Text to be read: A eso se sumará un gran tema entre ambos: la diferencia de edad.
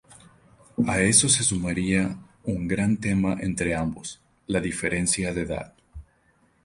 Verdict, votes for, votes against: rejected, 0, 2